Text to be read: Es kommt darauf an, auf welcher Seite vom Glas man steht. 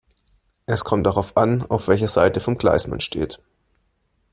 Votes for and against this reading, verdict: 0, 2, rejected